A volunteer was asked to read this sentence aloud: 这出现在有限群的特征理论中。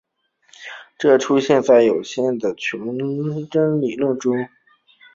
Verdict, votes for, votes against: accepted, 2, 0